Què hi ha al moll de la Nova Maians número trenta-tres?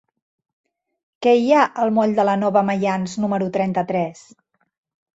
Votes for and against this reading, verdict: 3, 0, accepted